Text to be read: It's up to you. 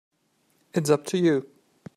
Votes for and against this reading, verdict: 2, 0, accepted